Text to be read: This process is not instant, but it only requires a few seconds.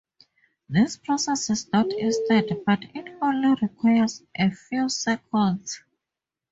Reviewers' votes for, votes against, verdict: 2, 0, accepted